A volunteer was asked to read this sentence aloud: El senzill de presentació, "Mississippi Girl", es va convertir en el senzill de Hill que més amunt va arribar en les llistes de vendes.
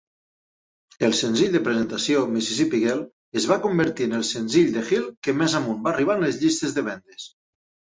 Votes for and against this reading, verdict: 4, 0, accepted